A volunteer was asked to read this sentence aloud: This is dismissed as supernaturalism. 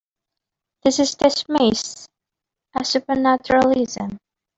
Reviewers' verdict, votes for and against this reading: rejected, 0, 2